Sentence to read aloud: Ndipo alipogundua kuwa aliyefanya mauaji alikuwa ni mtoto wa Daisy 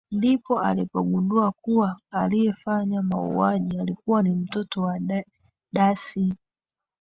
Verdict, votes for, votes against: rejected, 0, 3